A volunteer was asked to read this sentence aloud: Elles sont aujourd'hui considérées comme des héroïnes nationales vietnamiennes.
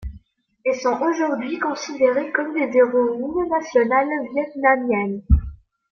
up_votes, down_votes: 2, 0